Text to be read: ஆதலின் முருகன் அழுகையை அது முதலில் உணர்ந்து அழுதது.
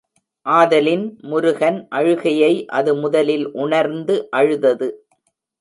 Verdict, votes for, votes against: accepted, 3, 0